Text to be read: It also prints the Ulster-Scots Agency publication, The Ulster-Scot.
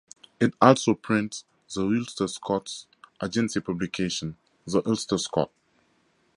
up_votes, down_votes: 2, 0